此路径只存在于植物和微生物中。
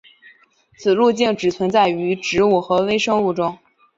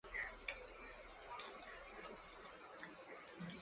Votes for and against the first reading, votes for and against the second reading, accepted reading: 2, 0, 1, 2, first